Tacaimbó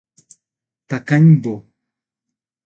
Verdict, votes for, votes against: accepted, 6, 0